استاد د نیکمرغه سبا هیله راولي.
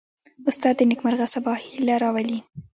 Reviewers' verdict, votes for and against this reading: accepted, 2, 0